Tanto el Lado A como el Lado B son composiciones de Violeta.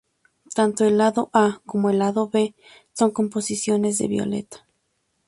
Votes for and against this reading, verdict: 2, 0, accepted